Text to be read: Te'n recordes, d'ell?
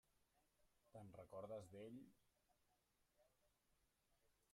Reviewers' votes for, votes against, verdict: 0, 2, rejected